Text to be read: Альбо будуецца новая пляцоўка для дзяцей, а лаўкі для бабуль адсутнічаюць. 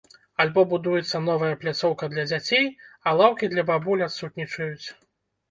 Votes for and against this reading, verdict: 2, 0, accepted